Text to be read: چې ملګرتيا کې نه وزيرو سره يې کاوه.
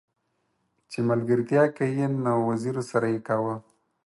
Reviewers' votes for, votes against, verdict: 4, 0, accepted